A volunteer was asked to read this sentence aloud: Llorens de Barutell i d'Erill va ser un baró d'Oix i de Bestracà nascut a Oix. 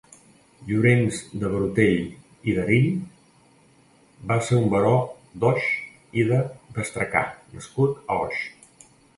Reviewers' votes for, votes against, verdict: 2, 0, accepted